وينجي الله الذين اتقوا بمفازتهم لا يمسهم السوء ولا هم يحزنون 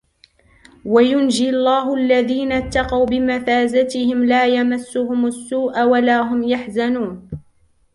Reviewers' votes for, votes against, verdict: 2, 3, rejected